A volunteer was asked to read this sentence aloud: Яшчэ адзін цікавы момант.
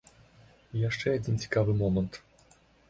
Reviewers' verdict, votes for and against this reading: accepted, 2, 1